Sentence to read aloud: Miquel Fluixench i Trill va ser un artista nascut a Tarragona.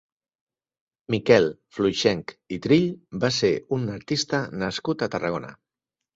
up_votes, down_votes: 4, 0